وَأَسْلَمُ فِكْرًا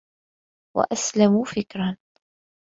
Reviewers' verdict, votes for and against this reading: accepted, 2, 0